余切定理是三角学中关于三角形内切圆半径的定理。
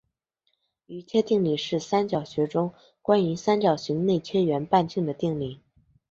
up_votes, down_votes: 3, 0